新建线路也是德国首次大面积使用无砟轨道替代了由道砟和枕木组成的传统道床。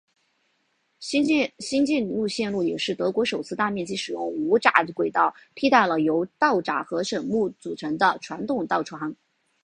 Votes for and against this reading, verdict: 2, 3, rejected